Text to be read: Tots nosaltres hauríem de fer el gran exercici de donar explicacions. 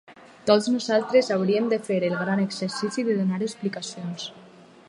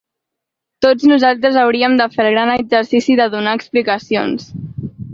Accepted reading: second